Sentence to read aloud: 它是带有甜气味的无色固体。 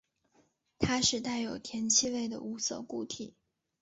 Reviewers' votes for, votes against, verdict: 3, 0, accepted